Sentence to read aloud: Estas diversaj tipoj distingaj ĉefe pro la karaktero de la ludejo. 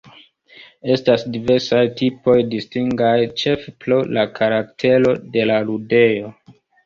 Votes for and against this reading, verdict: 2, 1, accepted